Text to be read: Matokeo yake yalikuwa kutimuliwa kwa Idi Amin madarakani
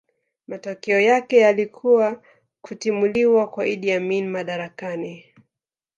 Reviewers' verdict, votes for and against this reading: rejected, 1, 2